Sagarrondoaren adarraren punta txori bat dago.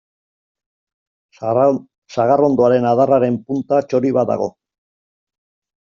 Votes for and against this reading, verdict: 0, 2, rejected